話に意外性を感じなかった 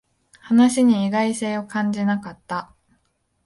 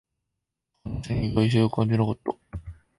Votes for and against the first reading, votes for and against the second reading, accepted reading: 3, 0, 0, 2, first